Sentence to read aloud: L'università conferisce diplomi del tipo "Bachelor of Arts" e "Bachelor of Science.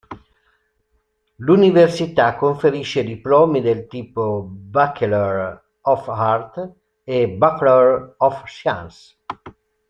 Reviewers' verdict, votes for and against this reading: rejected, 0, 2